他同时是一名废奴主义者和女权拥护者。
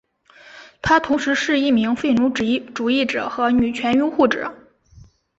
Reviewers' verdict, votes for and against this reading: rejected, 0, 2